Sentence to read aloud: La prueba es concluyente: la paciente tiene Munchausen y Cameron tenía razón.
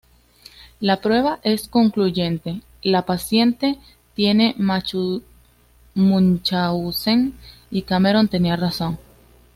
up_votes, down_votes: 0, 2